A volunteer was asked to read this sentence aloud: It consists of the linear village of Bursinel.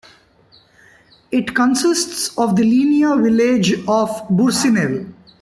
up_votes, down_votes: 2, 1